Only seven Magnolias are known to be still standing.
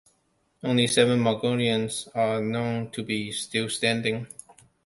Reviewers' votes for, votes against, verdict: 0, 2, rejected